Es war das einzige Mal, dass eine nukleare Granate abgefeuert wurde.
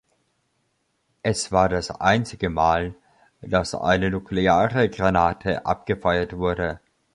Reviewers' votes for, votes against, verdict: 2, 0, accepted